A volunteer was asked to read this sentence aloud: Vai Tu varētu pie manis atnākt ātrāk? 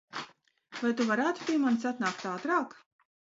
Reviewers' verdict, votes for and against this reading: rejected, 1, 2